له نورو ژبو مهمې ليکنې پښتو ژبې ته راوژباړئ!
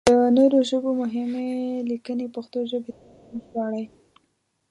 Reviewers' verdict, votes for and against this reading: rejected, 0, 2